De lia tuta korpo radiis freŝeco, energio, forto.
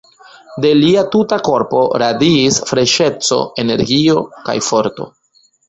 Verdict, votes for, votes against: rejected, 1, 2